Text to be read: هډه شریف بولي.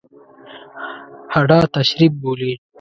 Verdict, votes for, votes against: rejected, 0, 2